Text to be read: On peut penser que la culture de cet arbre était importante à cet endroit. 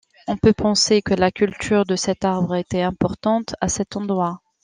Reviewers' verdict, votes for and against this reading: accepted, 2, 0